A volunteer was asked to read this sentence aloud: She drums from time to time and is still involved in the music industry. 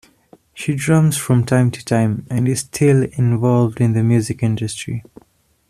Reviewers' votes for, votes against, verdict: 2, 0, accepted